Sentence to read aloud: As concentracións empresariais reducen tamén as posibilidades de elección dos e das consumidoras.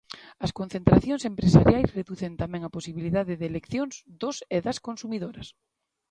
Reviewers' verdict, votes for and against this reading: rejected, 1, 2